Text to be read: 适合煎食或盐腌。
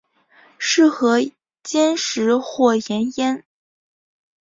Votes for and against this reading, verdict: 4, 0, accepted